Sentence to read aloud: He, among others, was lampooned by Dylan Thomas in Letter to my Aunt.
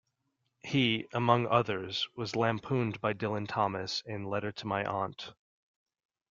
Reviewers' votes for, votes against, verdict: 2, 0, accepted